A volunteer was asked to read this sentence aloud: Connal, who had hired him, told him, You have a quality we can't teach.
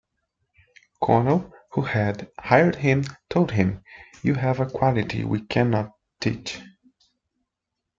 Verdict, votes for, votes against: rejected, 0, 2